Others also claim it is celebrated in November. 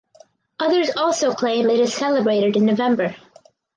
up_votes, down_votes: 2, 2